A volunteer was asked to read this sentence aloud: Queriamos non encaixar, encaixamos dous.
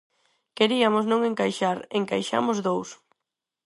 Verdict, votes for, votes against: rejected, 0, 4